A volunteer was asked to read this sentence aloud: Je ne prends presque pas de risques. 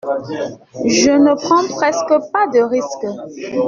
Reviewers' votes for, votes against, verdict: 1, 2, rejected